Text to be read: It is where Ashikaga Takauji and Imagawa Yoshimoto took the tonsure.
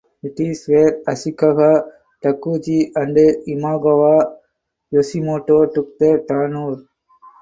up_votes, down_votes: 0, 4